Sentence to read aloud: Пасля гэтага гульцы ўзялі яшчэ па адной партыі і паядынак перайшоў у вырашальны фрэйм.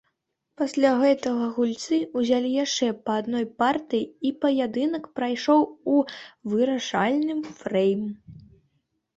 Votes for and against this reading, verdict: 0, 2, rejected